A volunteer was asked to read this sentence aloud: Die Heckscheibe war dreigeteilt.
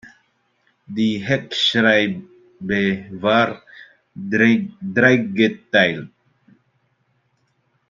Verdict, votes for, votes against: rejected, 0, 2